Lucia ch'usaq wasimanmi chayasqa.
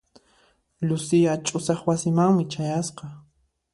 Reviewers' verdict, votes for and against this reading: accepted, 2, 0